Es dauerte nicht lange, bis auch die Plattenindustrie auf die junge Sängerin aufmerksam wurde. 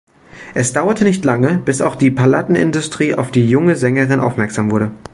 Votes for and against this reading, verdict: 1, 2, rejected